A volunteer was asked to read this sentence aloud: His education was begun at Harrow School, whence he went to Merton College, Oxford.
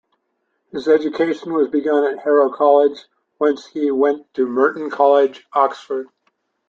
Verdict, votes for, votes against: rejected, 0, 2